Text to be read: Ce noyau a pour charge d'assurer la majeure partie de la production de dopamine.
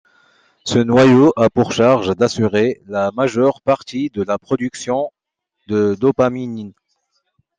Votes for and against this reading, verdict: 1, 2, rejected